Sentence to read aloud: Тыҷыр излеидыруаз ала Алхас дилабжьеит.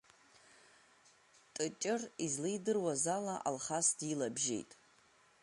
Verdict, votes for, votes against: accepted, 3, 1